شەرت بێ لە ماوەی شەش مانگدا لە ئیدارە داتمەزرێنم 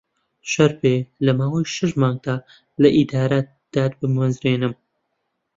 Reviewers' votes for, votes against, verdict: 0, 2, rejected